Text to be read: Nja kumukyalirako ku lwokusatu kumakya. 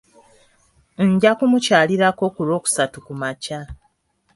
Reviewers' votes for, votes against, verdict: 5, 0, accepted